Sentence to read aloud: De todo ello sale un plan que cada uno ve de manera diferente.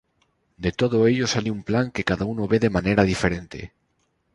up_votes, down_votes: 2, 0